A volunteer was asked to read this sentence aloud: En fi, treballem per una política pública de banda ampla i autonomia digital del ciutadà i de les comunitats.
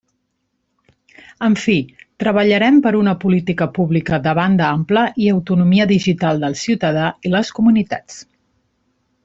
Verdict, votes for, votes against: rejected, 0, 2